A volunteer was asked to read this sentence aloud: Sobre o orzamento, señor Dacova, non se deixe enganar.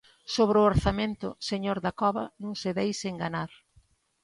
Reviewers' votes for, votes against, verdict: 2, 0, accepted